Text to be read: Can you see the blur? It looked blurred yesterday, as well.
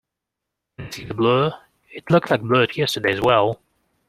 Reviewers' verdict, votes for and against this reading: rejected, 1, 3